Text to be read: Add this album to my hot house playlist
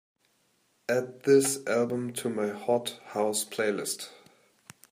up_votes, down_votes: 2, 0